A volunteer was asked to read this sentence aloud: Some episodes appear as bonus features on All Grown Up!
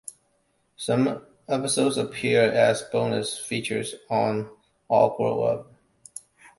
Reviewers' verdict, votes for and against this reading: rejected, 1, 2